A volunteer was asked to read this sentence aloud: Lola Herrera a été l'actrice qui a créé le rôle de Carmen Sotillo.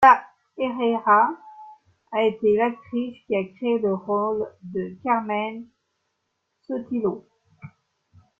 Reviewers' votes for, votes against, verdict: 1, 2, rejected